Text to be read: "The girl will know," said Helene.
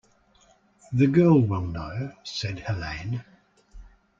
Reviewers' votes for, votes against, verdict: 2, 0, accepted